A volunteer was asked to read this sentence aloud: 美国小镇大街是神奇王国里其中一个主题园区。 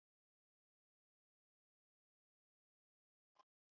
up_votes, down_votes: 1, 2